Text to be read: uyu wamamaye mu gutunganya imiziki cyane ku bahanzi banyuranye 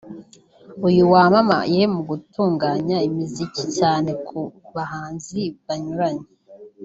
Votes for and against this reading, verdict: 1, 2, rejected